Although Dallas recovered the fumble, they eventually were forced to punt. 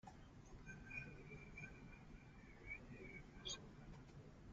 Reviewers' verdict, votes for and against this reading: rejected, 0, 2